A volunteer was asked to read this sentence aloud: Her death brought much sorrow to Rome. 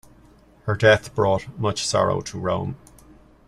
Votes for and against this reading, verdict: 2, 0, accepted